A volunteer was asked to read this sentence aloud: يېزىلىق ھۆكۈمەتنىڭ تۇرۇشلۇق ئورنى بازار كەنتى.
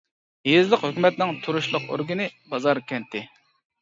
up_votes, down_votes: 0, 2